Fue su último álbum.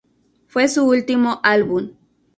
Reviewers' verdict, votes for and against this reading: accepted, 2, 0